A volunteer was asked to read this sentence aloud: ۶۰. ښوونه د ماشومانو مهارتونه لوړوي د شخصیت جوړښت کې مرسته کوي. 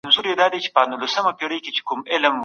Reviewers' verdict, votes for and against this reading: rejected, 0, 2